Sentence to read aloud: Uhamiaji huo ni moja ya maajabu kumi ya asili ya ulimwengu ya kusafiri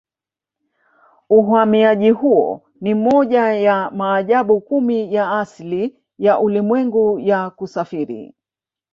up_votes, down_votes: 1, 2